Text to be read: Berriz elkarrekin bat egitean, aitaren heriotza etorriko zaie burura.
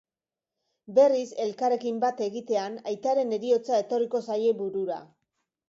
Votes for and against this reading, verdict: 6, 1, accepted